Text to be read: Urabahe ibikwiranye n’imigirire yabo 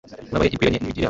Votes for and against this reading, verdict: 1, 2, rejected